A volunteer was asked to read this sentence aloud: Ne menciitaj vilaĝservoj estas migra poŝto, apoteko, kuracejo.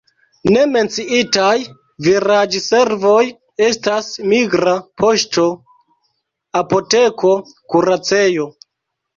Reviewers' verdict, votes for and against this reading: rejected, 1, 2